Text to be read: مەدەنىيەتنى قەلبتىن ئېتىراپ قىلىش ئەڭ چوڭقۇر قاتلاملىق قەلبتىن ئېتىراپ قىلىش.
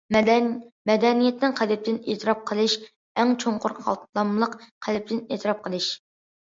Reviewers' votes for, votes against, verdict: 0, 2, rejected